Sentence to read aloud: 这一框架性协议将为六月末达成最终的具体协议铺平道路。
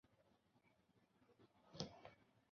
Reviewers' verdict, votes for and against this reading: rejected, 0, 2